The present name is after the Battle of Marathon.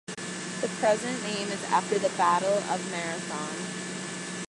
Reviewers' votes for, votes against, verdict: 1, 2, rejected